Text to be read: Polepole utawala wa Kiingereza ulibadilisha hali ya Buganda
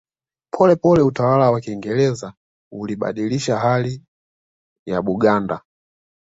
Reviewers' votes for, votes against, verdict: 2, 0, accepted